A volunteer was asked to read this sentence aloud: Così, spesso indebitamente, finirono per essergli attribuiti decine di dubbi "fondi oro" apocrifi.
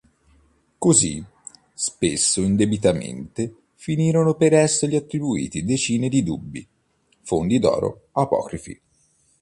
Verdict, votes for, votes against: rejected, 1, 2